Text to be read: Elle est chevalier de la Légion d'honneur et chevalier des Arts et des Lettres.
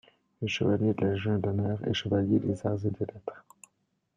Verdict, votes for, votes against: rejected, 1, 2